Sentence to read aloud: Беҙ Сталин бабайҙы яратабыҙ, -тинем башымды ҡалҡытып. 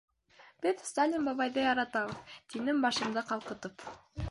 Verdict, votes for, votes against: rejected, 1, 2